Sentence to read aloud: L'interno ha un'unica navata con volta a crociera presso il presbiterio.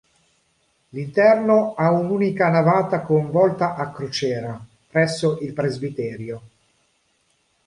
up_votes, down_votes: 3, 0